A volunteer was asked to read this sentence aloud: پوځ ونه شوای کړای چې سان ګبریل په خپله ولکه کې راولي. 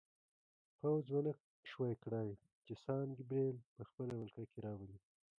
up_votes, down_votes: 2, 1